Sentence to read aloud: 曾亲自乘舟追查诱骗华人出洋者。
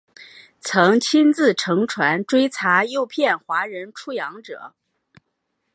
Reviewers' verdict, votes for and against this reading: rejected, 2, 3